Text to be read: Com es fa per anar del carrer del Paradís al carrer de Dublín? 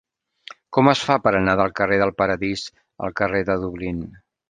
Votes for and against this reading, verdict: 3, 0, accepted